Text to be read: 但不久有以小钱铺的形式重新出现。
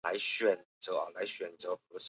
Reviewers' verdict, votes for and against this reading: rejected, 0, 2